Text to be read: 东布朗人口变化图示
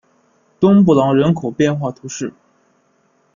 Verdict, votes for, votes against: accepted, 2, 0